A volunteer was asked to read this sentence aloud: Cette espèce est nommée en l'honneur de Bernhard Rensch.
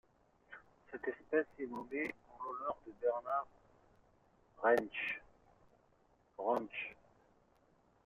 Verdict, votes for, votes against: rejected, 1, 2